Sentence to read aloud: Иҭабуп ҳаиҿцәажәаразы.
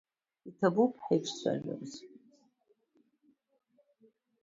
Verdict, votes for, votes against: rejected, 1, 2